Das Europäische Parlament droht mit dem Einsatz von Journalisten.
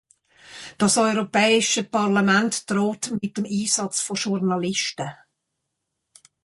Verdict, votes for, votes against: rejected, 0, 2